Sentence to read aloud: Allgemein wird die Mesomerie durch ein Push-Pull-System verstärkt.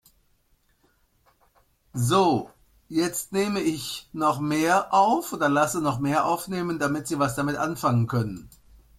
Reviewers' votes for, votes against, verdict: 0, 2, rejected